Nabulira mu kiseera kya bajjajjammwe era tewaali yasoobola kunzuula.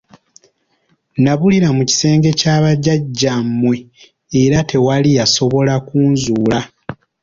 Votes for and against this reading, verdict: 1, 2, rejected